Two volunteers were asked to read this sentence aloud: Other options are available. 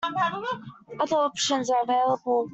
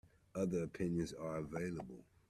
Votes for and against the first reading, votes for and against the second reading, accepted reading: 2, 1, 0, 2, first